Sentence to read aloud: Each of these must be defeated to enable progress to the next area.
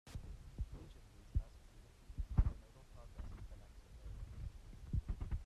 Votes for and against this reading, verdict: 0, 2, rejected